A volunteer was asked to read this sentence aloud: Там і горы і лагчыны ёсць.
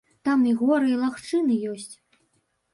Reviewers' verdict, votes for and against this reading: accepted, 2, 0